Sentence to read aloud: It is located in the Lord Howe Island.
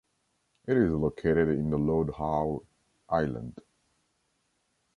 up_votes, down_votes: 2, 0